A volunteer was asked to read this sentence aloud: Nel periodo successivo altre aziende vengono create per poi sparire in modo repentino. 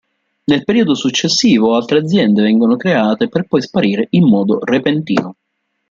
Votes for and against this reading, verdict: 2, 0, accepted